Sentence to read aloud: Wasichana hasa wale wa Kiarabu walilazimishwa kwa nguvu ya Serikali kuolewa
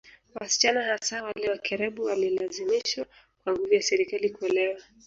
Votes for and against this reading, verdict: 0, 2, rejected